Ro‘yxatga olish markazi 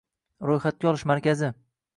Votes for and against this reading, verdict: 2, 0, accepted